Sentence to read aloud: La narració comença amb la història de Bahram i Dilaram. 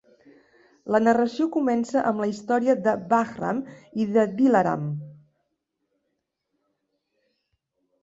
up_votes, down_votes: 1, 2